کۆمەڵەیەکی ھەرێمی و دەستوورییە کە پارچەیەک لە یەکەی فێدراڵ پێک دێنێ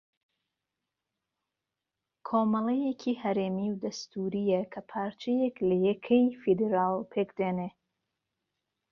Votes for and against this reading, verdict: 0, 2, rejected